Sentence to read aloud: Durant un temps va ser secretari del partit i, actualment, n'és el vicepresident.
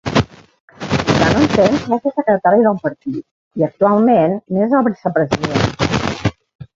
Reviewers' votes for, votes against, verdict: 0, 2, rejected